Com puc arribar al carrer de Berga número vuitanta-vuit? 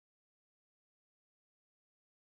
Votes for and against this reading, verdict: 1, 2, rejected